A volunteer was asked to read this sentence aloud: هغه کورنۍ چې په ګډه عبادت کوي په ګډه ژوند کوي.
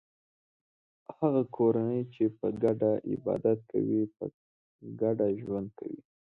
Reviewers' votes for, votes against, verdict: 2, 0, accepted